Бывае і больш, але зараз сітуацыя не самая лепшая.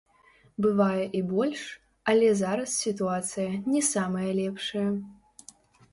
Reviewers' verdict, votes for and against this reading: rejected, 1, 2